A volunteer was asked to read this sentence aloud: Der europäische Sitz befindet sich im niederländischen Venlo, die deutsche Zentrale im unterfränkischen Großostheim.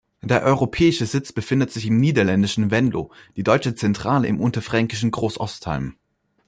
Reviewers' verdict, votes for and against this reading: accepted, 2, 0